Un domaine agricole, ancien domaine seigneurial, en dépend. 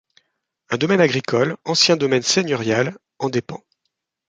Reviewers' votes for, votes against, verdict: 2, 0, accepted